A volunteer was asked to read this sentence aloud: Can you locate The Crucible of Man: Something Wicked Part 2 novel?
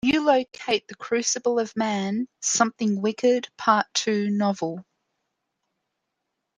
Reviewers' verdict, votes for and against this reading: rejected, 0, 2